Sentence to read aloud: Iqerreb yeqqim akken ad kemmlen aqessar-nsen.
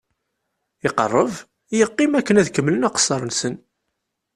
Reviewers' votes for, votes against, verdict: 2, 0, accepted